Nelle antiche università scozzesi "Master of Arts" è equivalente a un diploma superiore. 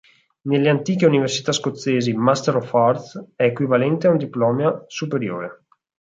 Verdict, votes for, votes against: rejected, 0, 4